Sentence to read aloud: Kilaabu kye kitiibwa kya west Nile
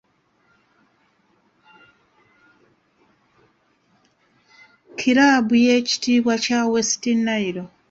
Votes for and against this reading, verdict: 0, 2, rejected